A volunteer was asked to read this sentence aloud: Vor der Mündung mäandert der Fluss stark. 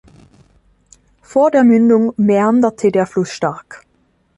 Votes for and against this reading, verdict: 1, 2, rejected